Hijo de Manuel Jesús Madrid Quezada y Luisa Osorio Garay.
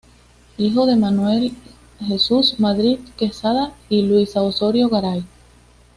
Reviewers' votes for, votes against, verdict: 2, 0, accepted